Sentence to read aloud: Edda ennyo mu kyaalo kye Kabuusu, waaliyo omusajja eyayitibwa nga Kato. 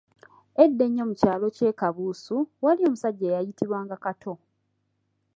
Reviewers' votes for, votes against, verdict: 2, 0, accepted